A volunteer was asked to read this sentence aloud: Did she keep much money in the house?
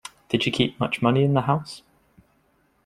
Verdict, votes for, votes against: accepted, 2, 0